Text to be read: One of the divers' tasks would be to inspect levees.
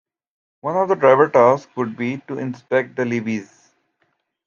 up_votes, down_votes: 0, 2